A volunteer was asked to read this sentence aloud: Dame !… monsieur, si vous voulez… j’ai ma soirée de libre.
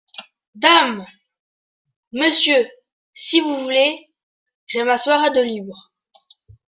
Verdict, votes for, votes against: accepted, 2, 0